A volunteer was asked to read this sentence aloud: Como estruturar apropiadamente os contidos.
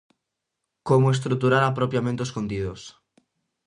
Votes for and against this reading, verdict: 0, 2, rejected